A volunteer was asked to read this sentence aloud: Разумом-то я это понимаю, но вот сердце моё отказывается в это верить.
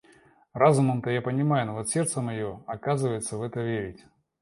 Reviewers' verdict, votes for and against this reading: accepted, 2, 1